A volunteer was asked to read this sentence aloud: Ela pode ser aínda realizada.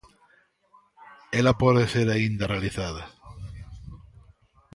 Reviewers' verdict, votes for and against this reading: accepted, 2, 0